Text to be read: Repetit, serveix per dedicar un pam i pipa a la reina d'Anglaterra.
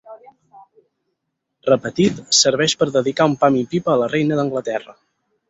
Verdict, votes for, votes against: accepted, 6, 0